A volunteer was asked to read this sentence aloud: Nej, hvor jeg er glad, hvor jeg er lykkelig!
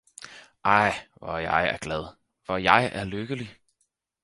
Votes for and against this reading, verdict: 2, 4, rejected